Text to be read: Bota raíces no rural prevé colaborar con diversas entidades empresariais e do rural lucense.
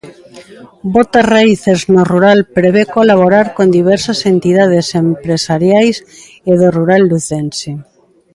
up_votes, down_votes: 1, 2